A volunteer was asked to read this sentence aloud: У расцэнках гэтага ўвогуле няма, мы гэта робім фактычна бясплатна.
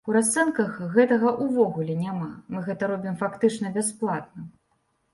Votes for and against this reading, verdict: 2, 0, accepted